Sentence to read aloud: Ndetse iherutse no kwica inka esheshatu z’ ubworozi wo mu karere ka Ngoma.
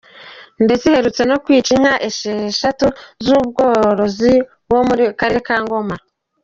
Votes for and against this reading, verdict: 2, 1, accepted